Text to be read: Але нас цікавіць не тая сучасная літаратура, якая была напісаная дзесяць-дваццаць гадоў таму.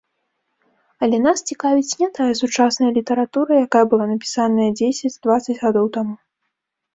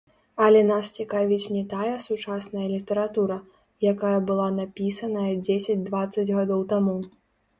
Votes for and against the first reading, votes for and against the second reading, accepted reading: 2, 0, 1, 2, first